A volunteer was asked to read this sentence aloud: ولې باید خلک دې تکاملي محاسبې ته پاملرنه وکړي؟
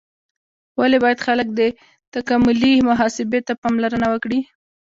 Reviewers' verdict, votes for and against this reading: accepted, 2, 0